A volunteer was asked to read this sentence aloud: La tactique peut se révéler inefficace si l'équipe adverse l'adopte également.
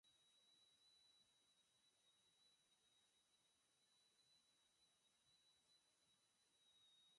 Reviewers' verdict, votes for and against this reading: rejected, 0, 4